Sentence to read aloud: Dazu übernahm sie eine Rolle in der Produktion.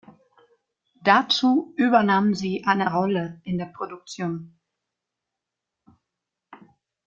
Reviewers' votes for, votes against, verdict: 2, 0, accepted